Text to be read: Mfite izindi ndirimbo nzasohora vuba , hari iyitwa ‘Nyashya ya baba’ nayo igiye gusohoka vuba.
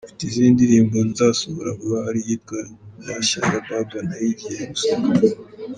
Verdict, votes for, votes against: rejected, 1, 2